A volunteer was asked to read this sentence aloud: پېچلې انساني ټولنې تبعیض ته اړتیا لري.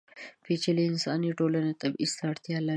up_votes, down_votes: 3, 0